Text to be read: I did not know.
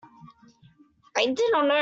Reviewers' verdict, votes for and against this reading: rejected, 0, 2